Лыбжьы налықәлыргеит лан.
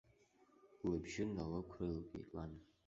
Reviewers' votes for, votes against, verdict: 0, 2, rejected